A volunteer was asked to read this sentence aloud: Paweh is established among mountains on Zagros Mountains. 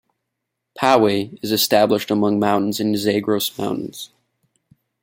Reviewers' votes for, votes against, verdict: 1, 2, rejected